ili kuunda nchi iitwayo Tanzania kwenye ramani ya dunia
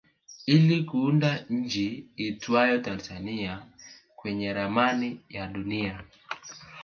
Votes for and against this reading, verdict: 2, 1, accepted